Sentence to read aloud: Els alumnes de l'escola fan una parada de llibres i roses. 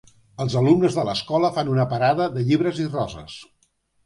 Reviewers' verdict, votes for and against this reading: accepted, 2, 0